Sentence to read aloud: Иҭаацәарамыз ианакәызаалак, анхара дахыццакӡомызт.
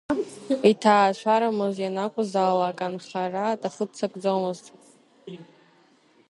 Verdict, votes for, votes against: rejected, 1, 2